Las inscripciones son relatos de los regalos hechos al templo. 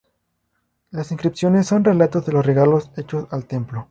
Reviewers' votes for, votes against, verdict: 2, 0, accepted